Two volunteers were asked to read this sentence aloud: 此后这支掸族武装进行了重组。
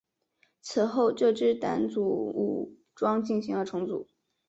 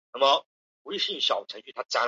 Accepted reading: first